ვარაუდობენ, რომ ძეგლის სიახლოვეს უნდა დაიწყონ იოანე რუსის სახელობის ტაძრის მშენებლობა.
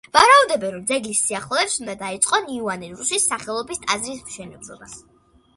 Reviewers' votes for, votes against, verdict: 2, 0, accepted